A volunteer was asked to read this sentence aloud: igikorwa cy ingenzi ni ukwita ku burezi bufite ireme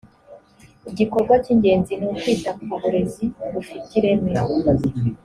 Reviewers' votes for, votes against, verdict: 3, 0, accepted